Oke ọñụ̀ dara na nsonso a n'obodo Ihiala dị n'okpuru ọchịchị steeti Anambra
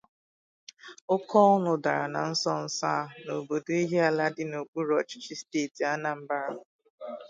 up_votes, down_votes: 2, 0